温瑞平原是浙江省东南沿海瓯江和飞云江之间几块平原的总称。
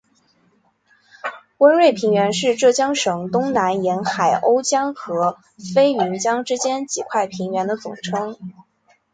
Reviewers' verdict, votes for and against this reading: accepted, 2, 0